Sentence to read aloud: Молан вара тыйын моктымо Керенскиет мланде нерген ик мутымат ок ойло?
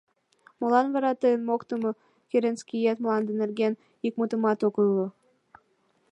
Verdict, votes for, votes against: accepted, 2, 0